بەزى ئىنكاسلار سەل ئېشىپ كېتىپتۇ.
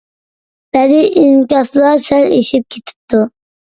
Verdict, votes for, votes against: accepted, 2, 0